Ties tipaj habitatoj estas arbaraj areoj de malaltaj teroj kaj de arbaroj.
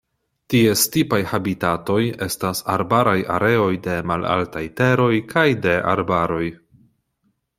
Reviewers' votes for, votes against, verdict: 2, 0, accepted